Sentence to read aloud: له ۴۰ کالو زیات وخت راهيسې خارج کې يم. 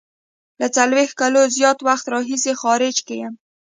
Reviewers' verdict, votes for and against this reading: rejected, 0, 2